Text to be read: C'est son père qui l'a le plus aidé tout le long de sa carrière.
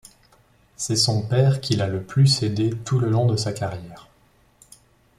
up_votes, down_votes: 2, 0